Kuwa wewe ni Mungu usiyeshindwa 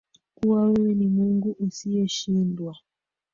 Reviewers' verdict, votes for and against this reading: accepted, 3, 2